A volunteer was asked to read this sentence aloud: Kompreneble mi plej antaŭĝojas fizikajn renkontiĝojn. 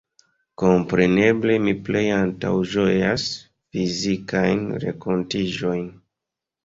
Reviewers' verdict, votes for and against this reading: accepted, 2, 0